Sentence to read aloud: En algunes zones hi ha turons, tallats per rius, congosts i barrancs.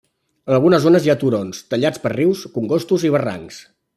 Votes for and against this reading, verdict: 0, 2, rejected